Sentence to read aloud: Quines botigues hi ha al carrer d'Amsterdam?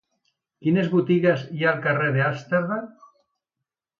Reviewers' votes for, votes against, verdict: 1, 2, rejected